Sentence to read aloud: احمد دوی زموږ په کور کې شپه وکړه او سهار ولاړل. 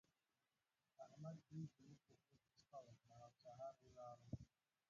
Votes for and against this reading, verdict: 1, 2, rejected